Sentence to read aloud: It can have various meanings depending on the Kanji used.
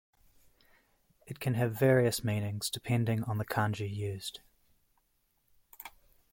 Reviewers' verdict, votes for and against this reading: accepted, 2, 0